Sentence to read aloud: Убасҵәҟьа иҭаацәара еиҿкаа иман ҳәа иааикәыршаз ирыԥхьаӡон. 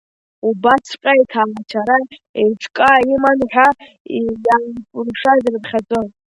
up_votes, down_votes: 1, 3